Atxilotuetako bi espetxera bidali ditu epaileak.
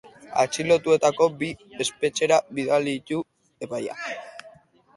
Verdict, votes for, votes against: accepted, 2, 0